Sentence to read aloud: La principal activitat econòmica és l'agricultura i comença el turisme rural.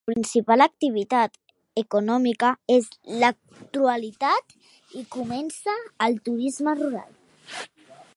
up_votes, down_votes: 0, 2